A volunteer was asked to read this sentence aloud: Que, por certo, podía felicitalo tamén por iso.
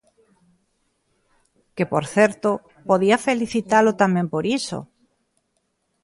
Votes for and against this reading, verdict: 2, 0, accepted